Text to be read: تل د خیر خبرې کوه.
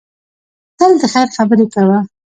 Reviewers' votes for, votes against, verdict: 3, 0, accepted